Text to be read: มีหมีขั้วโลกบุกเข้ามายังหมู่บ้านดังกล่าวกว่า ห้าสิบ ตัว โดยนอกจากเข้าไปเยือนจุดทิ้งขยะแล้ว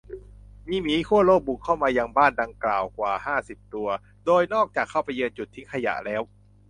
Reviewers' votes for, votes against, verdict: 0, 2, rejected